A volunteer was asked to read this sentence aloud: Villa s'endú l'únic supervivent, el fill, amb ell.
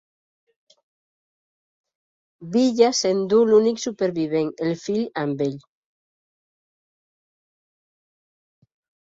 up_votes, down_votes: 2, 0